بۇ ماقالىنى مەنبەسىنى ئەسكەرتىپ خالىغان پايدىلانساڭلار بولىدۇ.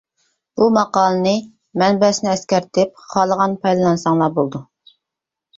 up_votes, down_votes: 1, 2